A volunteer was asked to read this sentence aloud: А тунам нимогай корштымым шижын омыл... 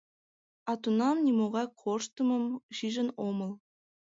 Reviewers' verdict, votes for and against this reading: accepted, 2, 0